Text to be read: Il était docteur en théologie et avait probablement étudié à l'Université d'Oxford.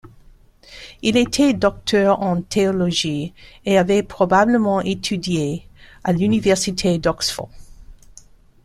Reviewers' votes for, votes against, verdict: 2, 0, accepted